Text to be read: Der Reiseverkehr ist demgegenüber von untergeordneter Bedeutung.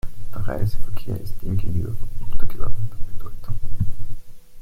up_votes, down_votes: 1, 2